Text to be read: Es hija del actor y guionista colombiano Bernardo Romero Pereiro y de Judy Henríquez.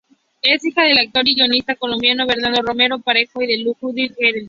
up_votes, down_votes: 2, 0